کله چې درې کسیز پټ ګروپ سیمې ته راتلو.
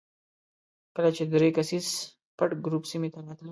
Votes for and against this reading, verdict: 0, 2, rejected